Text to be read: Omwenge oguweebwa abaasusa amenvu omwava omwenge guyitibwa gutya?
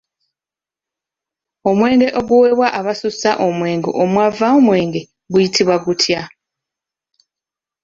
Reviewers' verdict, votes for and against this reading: rejected, 0, 2